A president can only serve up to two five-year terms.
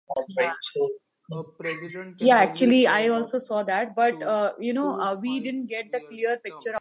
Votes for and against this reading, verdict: 0, 2, rejected